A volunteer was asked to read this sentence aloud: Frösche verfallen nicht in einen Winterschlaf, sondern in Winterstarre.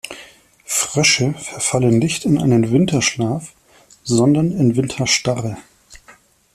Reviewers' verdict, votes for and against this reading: accepted, 2, 0